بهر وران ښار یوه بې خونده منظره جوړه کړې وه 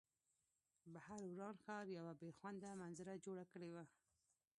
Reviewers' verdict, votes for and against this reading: rejected, 1, 2